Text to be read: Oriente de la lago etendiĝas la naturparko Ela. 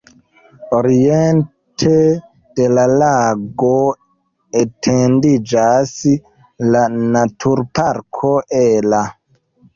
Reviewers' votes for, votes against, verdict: 0, 2, rejected